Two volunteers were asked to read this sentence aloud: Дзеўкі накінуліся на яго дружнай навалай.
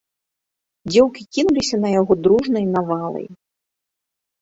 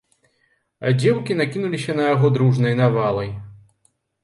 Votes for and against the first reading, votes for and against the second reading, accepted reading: 0, 2, 2, 0, second